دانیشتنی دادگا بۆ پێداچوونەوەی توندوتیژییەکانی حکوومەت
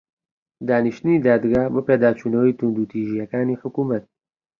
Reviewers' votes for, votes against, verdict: 3, 0, accepted